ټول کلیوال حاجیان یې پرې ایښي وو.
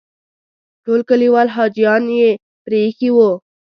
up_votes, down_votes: 2, 1